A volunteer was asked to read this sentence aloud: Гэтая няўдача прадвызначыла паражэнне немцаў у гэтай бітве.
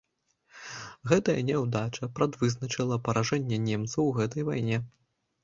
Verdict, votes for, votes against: rejected, 1, 2